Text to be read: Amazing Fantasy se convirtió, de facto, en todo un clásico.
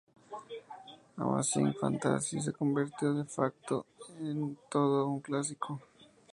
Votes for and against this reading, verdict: 0, 2, rejected